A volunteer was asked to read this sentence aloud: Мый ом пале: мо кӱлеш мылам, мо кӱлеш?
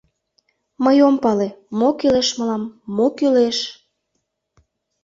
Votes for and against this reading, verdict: 2, 0, accepted